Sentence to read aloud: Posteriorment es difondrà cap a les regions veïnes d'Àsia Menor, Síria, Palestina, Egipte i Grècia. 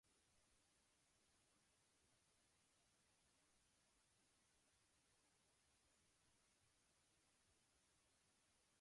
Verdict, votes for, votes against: rejected, 0, 2